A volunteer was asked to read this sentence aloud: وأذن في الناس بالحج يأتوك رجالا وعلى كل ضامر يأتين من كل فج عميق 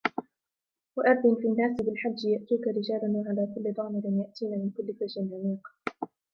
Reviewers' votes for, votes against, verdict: 2, 0, accepted